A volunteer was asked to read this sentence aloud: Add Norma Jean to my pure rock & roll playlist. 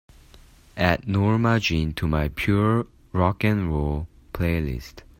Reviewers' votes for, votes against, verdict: 2, 0, accepted